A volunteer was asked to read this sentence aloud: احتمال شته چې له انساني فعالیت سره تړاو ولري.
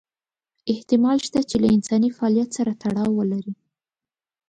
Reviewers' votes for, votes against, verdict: 10, 0, accepted